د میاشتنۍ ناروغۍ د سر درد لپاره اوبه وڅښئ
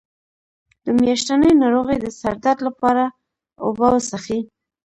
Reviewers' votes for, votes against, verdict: 2, 0, accepted